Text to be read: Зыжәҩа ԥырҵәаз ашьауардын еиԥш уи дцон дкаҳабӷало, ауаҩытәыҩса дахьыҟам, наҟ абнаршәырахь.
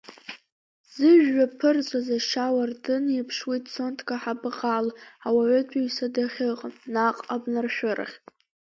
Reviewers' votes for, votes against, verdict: 0, 2, rejected